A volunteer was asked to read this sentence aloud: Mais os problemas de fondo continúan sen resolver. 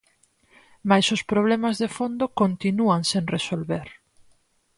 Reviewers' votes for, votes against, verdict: 4, 0, accepted